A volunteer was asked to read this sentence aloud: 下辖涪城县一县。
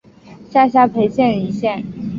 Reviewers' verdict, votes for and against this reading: accepted, 6, 1